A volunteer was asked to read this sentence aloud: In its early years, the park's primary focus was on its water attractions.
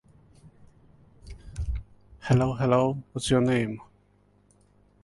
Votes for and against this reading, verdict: 1, 2, rejected